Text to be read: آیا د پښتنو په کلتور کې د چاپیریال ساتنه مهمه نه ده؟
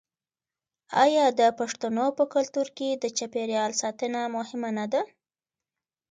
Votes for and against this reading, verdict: 2, 0, accepted